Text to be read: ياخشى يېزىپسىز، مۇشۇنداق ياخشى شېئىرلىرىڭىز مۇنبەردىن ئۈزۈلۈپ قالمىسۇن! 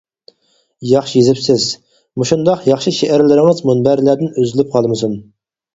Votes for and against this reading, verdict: 0, 4, rejected